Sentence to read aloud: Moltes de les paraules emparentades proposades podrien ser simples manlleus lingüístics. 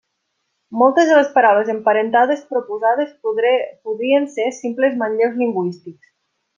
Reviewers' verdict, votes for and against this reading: rejected, 0, 2